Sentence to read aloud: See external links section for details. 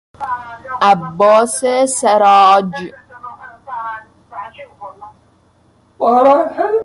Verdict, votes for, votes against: rejected, 0, 2